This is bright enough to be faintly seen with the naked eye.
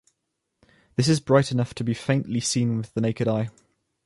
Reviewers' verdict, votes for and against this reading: accepted, 2, 0